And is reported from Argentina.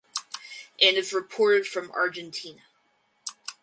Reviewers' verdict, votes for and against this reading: rejected, 2, 4